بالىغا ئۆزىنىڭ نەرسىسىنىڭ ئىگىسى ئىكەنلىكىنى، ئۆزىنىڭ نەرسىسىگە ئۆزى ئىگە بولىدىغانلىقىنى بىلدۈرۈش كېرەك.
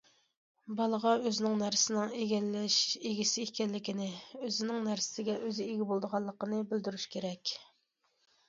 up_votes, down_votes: 1, 2